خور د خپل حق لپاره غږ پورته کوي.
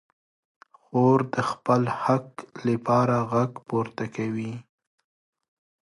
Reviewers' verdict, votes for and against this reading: accepted, 4, 0